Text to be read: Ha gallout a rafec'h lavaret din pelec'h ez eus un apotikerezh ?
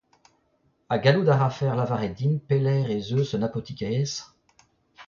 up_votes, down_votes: 0, 2